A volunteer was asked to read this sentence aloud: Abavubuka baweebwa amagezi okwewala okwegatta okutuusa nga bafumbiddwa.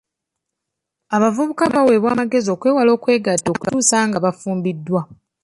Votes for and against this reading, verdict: 2, 1, accepted